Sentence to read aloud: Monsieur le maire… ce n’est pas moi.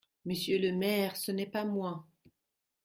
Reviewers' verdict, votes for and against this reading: accepted, 2, 0